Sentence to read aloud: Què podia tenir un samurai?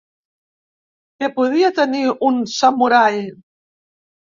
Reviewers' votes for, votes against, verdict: 4, 0, accepted